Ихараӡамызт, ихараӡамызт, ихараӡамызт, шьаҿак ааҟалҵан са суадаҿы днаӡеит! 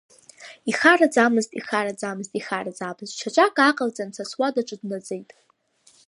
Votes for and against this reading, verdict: 2, 1, accepted